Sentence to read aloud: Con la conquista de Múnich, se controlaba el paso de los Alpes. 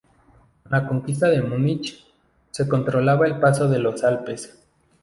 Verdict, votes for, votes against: rejected, 0, 2